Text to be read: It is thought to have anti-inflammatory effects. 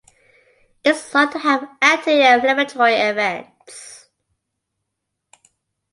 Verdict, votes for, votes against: accepted, 2, 1